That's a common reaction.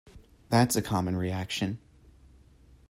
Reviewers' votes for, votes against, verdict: 2, 0, accepted